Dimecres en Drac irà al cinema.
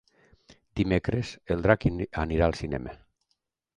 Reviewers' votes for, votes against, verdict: 0, 2, rejected